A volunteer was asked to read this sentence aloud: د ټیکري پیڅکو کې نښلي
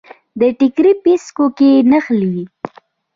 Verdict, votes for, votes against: rejected, 1, 2